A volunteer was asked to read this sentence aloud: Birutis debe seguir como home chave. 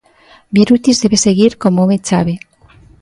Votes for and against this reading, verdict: 2, 0, accepted